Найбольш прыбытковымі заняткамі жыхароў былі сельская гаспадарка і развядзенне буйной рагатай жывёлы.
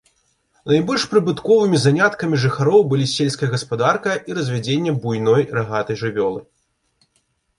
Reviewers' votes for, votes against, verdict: 2, 0, accepted